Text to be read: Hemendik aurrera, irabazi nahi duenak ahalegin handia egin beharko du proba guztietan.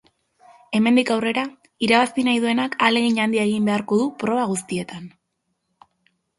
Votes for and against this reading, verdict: 2, 0, accepted